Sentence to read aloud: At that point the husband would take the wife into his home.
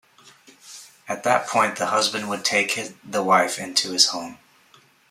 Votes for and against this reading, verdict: 0, 2, rejected